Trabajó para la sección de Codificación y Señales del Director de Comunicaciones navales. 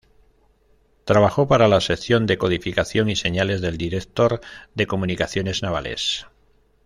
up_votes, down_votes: 1, 2